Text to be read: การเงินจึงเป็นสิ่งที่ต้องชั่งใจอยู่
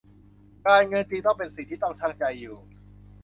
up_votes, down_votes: 0, 2